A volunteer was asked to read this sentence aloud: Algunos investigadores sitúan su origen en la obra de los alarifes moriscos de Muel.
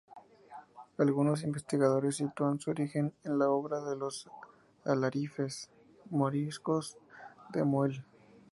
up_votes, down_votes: 2, 0